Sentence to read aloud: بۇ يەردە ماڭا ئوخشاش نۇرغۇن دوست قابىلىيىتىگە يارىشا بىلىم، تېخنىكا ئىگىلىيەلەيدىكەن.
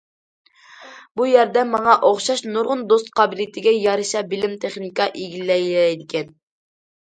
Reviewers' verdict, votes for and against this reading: rejected, 0, 2